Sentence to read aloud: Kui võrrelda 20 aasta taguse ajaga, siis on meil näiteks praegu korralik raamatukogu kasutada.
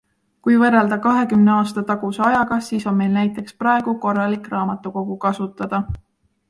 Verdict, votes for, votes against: rejected, 0, 2